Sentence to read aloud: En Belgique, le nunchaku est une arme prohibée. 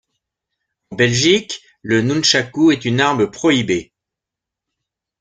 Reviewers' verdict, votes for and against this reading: rejected, 0, 2